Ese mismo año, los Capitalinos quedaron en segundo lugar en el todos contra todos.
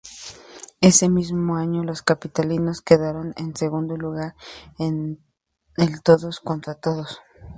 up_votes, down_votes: 4, 2